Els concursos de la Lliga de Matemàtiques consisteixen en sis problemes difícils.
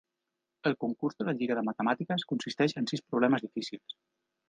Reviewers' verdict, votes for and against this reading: rejected, 1, 2